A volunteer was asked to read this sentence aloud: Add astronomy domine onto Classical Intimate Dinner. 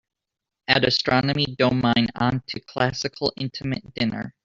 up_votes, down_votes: 2, 1